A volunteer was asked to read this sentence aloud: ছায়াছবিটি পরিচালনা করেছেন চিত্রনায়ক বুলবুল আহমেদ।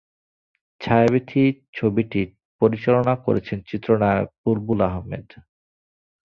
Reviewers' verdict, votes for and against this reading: rejected, 1, 2